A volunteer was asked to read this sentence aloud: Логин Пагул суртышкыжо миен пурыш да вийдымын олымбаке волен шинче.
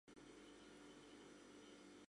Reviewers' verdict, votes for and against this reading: rejected, 1, 3